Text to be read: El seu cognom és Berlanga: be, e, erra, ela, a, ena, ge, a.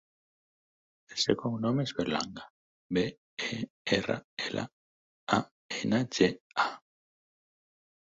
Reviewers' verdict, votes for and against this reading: rejected, 0, 4